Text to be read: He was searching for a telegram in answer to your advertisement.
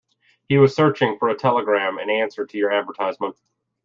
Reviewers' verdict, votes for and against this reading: rejected, 1, 2